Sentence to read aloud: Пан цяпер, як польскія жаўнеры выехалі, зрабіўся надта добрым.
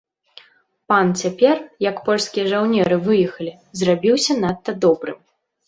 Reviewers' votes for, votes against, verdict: 2, 0, accepted